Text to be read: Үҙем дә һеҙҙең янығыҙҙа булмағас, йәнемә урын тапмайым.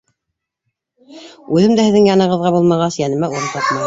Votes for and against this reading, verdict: 0, 2, rejected